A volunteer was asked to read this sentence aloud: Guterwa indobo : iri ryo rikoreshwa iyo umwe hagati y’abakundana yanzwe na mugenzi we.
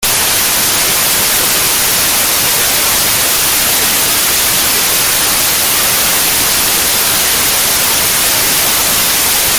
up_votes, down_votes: 0, 2